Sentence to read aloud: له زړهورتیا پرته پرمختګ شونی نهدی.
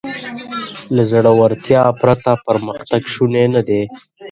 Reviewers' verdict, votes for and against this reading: accepted, 2, 1